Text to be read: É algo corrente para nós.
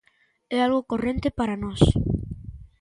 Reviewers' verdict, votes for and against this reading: accepted, 2, 0